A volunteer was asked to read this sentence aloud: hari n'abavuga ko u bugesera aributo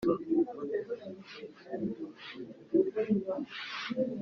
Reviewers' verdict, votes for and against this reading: rejected, 1, 3